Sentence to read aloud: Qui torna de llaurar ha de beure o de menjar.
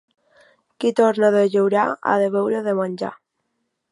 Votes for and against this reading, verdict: 2, 1, accepted